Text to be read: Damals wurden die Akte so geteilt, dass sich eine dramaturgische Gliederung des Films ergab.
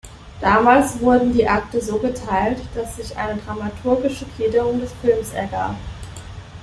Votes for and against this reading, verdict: 3, 0, accepted